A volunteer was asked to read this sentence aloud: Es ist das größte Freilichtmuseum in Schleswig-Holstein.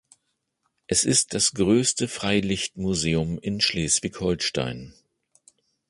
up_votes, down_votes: 2, 0